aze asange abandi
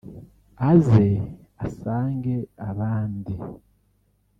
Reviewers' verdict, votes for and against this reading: rejected, 0, 2